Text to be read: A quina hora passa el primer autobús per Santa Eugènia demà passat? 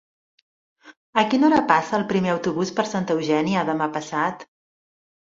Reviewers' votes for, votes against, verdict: 3, 0, accepted